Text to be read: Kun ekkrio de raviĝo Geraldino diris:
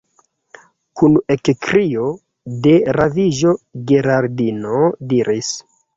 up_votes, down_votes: 2, 0